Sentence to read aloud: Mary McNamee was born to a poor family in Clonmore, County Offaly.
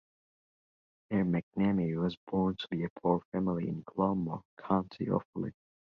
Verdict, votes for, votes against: rejected, 0, 2